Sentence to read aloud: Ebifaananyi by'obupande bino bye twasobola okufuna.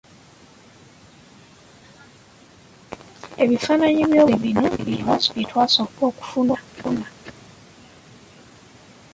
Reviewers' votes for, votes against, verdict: 0, 2, rejected